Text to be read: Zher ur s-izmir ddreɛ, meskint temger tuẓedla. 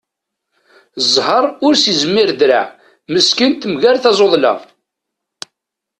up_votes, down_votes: 0, 2